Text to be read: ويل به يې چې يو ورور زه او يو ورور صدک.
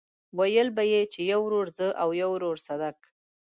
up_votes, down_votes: 2, 0